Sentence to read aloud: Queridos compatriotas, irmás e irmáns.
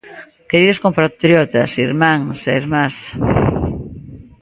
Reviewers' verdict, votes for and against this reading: rejected, 0, 2